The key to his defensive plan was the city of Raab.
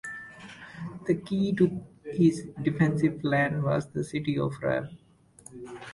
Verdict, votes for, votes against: accepted, 2, 0